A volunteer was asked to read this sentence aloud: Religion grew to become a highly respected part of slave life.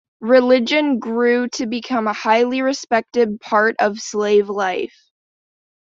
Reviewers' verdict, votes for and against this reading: accepted, 2, 0